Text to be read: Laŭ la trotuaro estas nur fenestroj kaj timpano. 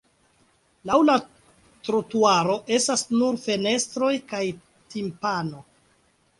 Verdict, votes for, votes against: accepted, 2, 0